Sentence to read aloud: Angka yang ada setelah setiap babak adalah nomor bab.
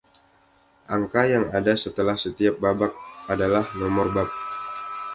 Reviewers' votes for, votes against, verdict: 2, 0, accepted